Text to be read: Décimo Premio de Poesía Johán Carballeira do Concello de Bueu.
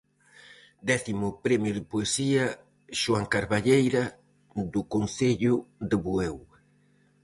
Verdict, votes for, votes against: rejected, 2, 2